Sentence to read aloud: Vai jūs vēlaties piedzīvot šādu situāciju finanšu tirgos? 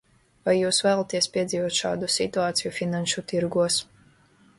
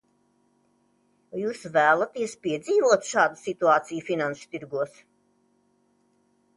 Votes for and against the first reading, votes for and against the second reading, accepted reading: 2, 0, 0, 2, first